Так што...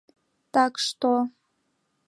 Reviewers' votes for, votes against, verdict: 2, 0, accepted